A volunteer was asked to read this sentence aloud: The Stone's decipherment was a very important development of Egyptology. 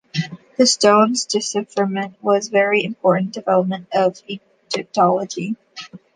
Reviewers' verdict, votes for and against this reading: accepted, 2, 0